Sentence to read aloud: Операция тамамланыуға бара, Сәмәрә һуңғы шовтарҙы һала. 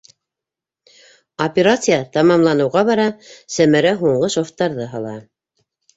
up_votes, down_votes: 3, 0